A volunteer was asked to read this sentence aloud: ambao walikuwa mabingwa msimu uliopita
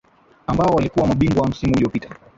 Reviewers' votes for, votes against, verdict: 1, 2, rejected